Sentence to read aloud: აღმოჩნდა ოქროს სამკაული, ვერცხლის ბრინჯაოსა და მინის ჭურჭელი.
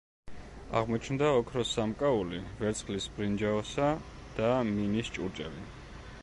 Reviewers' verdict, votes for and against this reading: accepted, 2, 0